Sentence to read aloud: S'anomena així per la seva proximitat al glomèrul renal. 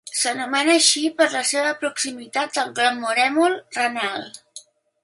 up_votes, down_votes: 0, 2